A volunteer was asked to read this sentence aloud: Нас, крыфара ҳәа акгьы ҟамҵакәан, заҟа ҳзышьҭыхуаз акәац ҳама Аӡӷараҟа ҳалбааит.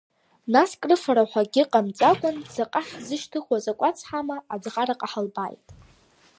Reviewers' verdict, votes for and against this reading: rejected, 0, 2